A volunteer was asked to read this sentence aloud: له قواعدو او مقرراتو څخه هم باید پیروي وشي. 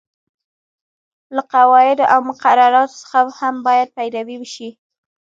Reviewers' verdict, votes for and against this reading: rejected, 0, 2